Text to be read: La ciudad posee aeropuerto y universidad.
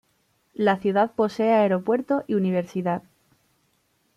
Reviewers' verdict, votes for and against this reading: accepted, 2, 0